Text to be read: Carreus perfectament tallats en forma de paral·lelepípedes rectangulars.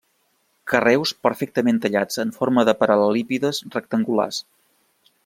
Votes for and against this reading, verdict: 0, 2, rejected